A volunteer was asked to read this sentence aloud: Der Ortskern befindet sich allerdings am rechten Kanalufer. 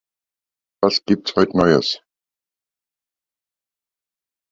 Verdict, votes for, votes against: rejected, 0, 2